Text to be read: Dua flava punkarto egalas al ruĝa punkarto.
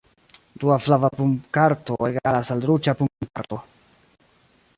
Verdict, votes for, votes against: accepted, 2, 1